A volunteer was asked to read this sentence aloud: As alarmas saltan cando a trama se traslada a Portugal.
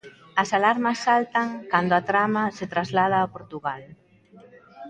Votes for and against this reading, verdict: 1, 2, rejected